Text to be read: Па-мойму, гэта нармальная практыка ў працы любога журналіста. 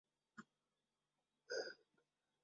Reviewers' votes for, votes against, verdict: 0, 2, rejected